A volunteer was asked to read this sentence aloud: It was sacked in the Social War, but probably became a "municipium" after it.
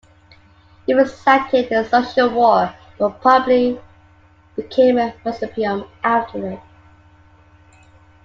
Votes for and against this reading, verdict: 2, 1, accepted